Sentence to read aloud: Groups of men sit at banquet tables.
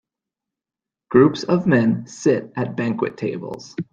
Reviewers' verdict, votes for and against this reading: accepted, 2, 0